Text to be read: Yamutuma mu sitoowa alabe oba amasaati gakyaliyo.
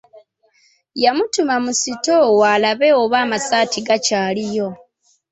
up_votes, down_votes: 2, 0